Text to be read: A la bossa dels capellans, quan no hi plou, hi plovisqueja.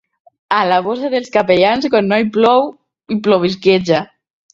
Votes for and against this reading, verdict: 1, 2, rejected